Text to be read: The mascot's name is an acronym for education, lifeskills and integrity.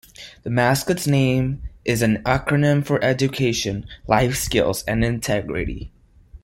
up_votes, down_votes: 2, 0